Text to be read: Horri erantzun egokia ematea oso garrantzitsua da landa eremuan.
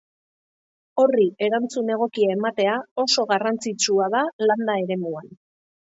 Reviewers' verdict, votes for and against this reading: accepted, 3, 1